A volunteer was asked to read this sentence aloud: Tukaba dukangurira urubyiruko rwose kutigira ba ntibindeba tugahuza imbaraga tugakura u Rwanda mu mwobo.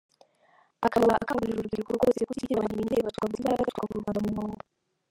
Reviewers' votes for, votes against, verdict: 0, 2, rejected